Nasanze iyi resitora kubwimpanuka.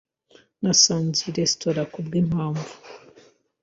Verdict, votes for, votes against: rejected, 1, 2